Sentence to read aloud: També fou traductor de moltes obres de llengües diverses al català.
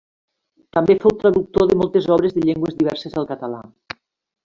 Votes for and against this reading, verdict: 3, 0, accepted